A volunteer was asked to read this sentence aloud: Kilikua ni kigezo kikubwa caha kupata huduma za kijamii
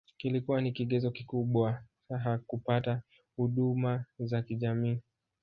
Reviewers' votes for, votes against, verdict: 1, 2, rejected